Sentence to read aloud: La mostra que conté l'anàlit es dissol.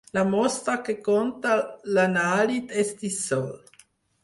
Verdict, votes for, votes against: rejected, 2, 4